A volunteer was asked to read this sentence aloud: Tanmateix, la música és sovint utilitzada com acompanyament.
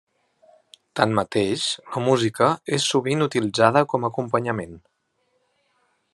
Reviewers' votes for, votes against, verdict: 2, 0, accepted